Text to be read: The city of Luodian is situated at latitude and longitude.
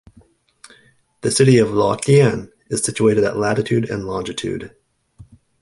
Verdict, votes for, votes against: accepted, 2, 0